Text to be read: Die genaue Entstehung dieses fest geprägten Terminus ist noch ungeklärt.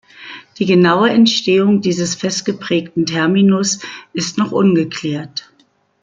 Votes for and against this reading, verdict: 2, 0, accepted